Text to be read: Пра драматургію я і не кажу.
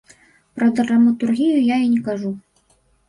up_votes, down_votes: 2, 0